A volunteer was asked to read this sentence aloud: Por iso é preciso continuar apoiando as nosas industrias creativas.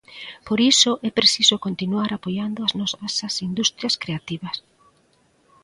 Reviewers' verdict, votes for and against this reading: rejected, 0, 2